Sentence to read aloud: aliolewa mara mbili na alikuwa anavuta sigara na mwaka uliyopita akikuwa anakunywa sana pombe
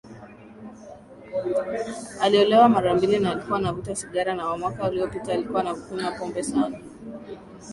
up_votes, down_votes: 0, 2